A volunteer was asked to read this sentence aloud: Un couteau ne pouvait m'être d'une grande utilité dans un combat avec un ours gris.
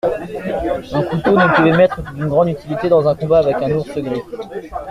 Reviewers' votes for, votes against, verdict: 1, 2, rejected